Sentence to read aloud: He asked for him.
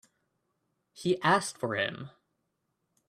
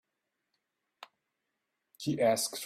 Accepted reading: first